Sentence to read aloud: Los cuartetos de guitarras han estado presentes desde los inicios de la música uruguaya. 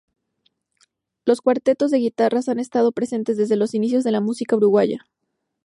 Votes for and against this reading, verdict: 2, 0, accepted